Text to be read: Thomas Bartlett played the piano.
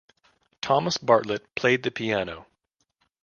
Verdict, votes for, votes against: accepted, 2, 0